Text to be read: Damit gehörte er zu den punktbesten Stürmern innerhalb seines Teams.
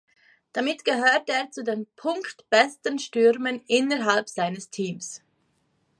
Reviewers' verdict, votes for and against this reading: accepted, 2, 0